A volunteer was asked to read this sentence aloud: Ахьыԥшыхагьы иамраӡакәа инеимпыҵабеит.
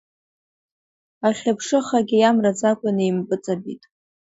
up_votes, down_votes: 2, 1